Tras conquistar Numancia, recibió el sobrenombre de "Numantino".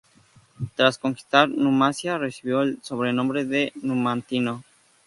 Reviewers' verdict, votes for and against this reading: rejected, 2, 2